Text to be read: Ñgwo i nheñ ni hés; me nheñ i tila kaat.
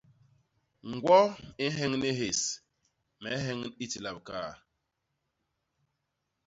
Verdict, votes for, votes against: rejected, 1, 2